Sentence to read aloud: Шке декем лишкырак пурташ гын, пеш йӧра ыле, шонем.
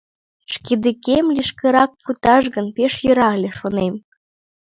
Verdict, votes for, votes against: rejected, 2, 3